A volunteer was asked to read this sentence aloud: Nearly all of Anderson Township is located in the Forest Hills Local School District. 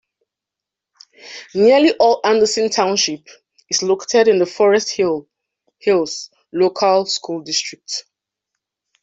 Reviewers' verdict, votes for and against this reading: rejected, 0, 2